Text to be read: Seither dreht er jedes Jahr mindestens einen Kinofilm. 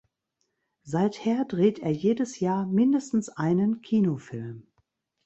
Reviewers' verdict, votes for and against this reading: accepted, 2, 0